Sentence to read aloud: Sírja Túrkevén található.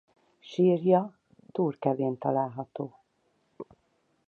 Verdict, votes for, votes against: accepted, 4, 0